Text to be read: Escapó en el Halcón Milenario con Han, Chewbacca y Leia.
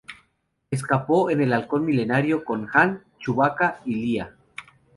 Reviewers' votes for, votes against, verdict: 2, 0, accepted